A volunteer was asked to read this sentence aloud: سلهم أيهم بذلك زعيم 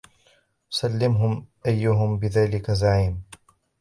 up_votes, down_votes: 0, 2